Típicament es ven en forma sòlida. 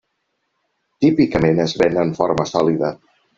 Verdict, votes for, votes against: accepted, 2, 0